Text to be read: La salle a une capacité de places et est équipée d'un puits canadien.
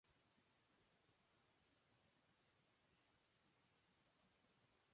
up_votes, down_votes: 0, 2